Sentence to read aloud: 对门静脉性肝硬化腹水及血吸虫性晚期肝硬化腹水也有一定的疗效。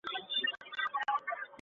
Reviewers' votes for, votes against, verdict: 0, 5, rejected